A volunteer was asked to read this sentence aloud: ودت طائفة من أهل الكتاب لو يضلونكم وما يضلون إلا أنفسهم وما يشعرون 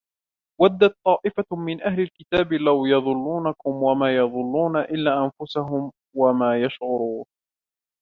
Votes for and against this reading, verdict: 0, 2, rejected